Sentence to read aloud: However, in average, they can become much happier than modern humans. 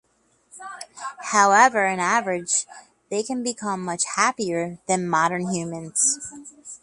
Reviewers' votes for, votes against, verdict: 2, 0, accepted